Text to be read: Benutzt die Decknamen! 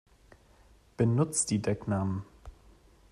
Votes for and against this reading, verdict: 2, 0, accepted